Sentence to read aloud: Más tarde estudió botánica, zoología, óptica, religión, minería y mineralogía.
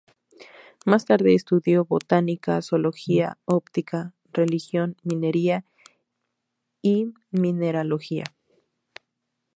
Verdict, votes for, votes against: accepted, 2, 0